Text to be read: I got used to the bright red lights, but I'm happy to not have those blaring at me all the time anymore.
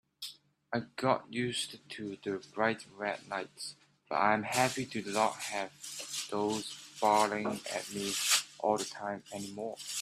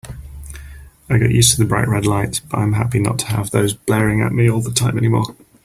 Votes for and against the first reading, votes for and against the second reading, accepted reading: 1, 3, 3, 2, second